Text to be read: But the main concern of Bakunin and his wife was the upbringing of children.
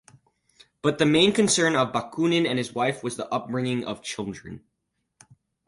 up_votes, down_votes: 4, 0